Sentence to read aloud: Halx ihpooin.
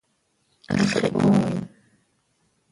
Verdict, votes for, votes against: rejected, 0, 2